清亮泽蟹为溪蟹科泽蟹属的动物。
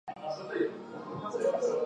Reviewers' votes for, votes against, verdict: 3, 5, rejected